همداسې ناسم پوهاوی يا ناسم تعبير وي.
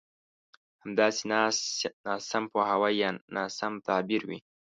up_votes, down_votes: 1, 2